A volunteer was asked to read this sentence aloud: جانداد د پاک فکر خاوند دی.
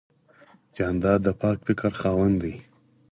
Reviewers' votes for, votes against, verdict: 2, 4, rejected